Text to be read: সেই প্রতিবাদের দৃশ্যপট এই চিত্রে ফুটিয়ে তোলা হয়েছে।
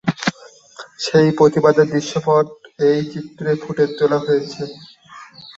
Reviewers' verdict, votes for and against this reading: rejected, 7, 12